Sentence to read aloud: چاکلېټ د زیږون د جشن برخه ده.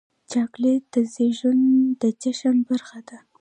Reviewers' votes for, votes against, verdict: 2, 1, accepted